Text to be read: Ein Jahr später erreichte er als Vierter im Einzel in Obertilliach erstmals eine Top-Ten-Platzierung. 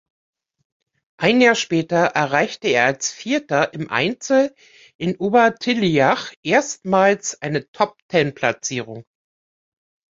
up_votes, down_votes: 2, 0